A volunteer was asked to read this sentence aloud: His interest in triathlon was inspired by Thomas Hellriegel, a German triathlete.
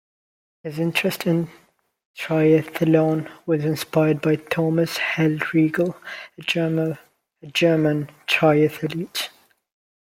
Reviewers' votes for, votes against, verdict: 0, 2, rejected